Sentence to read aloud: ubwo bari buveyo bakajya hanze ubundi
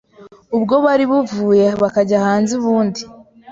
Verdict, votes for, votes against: accepted, 2, 0